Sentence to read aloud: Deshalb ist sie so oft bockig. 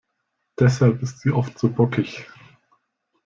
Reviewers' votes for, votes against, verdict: 1, 2, rejected